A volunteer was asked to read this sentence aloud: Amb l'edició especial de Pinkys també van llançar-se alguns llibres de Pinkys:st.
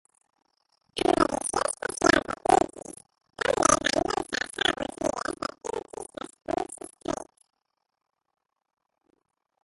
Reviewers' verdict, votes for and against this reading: rejected, 0, 2